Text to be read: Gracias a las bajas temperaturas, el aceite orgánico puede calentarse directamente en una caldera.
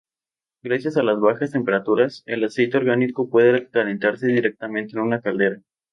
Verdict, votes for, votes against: accepted, 2, 0